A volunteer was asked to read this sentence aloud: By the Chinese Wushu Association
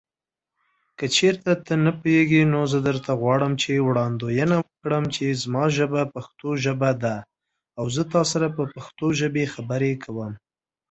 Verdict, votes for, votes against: rejected, 0, 2